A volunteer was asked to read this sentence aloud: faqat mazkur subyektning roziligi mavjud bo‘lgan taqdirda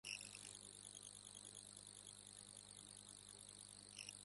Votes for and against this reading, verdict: 0, 2, rejected